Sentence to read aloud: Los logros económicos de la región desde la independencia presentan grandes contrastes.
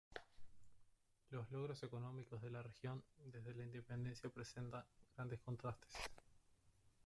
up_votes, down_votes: 0, 2